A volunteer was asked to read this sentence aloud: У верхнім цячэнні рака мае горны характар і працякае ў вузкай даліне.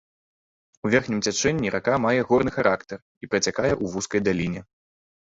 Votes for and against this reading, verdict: 3, 0, accepted